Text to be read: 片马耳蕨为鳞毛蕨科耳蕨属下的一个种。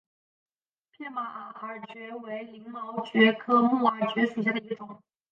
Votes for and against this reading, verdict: 0, 2, rejected